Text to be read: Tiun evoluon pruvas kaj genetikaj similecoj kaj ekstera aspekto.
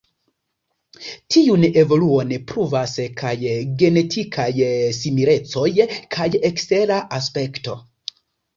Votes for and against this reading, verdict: 2, 1, accepted